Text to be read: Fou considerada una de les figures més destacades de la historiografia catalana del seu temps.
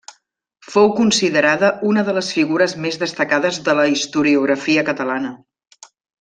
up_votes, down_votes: 0, 2